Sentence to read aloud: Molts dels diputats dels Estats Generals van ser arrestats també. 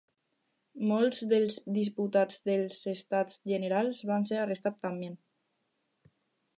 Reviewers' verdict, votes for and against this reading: rejected, 0, 2